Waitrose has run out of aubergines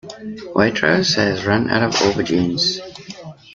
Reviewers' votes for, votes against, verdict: 2, 0, accepted